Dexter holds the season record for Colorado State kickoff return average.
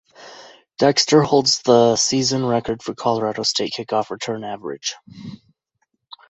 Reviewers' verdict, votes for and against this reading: accepted, 2, 0